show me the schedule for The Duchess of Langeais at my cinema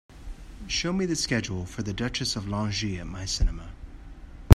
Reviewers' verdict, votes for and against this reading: accepted, 4, 0